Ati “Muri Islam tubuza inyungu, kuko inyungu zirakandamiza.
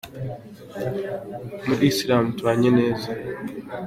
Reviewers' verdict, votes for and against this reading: rejected, 0, 2